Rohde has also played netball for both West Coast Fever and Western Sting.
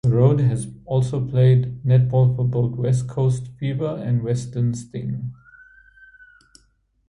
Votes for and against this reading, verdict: 2, 0, accepted